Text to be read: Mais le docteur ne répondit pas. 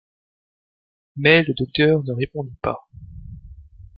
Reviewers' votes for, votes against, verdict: 1, 2, rejected